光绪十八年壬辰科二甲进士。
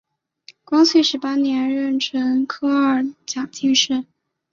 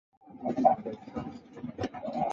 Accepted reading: first